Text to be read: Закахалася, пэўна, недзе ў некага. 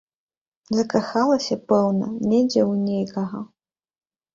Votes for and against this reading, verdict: 0, 2, rejected